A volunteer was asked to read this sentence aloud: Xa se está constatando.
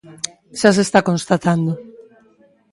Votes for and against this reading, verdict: 2, 0, accepted